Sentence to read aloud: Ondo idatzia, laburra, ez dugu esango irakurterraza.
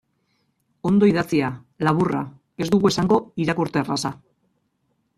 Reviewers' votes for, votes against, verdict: 0, 2, rejected